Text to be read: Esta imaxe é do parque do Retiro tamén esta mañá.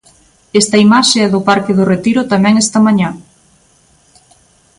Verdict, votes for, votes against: accepted, 2, 0